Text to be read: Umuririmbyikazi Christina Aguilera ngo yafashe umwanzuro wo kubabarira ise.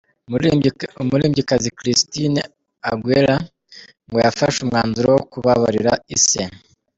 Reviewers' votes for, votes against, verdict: 1, 2, rejected